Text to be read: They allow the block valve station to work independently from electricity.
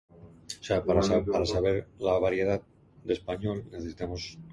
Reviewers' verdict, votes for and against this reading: rejected, 1, 2